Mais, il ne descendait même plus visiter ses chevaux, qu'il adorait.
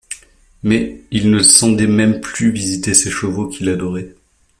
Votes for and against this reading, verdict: 0, 2, rejected